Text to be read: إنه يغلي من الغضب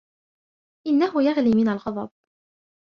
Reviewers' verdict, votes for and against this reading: accepted, 2, 1